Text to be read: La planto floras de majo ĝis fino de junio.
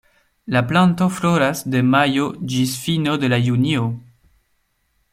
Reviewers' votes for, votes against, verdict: 0, 2, rejected